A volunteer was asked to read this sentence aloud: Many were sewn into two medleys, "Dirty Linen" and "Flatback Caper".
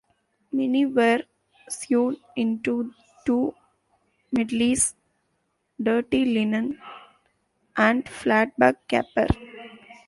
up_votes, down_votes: 1, 2